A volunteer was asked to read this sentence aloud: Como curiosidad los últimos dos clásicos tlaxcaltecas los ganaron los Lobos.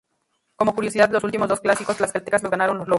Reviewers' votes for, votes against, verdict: 0, 2, rejected